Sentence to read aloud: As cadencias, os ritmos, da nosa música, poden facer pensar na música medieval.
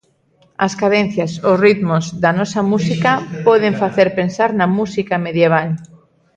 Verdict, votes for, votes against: accepted, 2, 0